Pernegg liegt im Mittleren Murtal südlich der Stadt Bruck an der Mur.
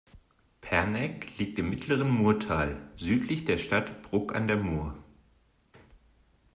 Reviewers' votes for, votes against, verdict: 2, 0, accepted